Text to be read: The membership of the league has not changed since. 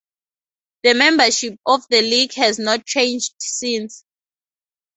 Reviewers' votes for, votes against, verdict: 2, 0, accepted